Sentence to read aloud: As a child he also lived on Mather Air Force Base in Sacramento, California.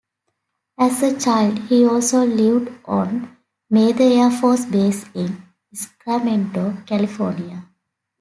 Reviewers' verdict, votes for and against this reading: accepted, 2, 0